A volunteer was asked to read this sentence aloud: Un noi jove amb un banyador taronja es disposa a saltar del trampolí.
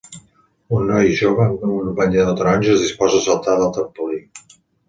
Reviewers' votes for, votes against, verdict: 2, 0, accepted